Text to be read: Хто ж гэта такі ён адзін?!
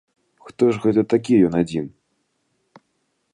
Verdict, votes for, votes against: accepted, 2, 0